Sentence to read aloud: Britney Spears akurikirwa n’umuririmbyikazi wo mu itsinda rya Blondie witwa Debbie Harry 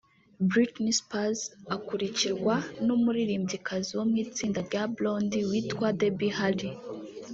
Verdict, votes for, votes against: rejected, 1, 2